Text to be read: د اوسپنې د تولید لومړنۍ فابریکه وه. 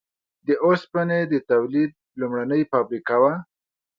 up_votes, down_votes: 2, 0